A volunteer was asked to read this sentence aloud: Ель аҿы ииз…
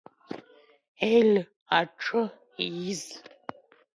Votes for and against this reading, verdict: 2, 0, accepted